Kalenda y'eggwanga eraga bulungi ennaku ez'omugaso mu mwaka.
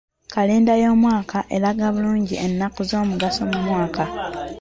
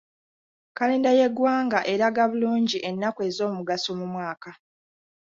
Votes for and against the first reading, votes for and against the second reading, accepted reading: 1, 2, 2, 0, second